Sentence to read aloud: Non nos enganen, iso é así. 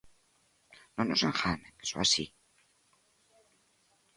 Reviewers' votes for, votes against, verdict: 2, 1, accepted